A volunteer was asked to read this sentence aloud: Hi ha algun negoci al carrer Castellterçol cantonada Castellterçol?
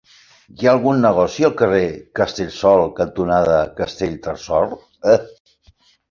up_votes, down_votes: 0, 2